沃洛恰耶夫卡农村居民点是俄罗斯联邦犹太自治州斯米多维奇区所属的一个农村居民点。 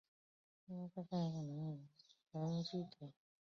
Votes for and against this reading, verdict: 0, 2, rejected